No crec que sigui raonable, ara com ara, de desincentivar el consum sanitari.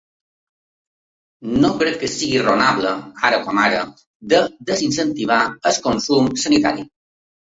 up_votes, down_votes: 1, 2